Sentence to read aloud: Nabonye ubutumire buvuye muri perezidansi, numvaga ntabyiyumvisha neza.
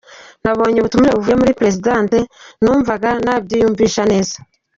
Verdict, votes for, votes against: accepted, 2, 1